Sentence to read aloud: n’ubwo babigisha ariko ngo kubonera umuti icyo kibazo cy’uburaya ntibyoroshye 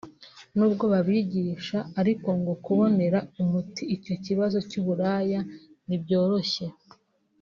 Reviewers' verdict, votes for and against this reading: accepted, 3, 0